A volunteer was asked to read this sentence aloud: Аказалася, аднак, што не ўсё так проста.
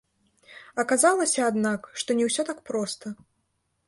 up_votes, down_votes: 0, 2